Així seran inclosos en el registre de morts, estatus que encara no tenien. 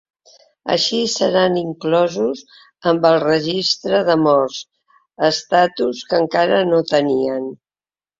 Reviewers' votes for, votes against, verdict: 0, 2, rejected